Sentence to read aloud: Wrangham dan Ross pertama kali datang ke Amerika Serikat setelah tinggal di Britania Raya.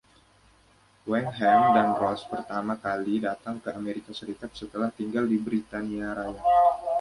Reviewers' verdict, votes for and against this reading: rejected, 1, 2